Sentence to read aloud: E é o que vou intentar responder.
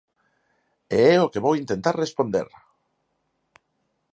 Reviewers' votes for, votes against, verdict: 4, 2, accepted